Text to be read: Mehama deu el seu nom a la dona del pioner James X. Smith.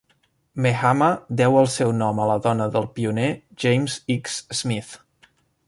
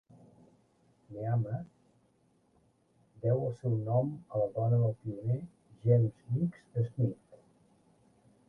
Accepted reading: first